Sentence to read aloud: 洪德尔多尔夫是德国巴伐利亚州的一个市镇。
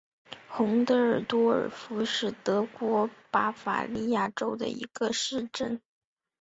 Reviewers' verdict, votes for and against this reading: accepted, 2, 1